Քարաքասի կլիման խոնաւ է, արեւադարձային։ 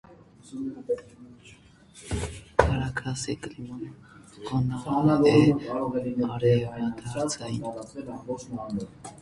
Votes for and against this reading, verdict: 0, 2, rejected